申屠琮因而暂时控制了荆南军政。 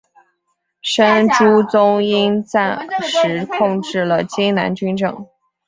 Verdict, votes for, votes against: accepted, 2, 0